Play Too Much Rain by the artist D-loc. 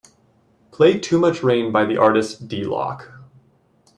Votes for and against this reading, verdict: 2, 0, accepted